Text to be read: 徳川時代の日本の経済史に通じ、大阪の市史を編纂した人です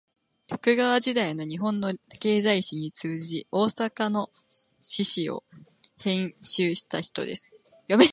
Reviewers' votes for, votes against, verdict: 0, 2, rejected